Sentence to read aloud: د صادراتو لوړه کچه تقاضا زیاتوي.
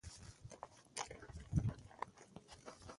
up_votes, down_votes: 0, 2